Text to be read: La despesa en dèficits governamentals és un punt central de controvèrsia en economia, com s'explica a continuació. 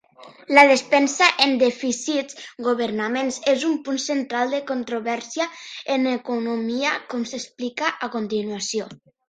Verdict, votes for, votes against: rejected, 0, 2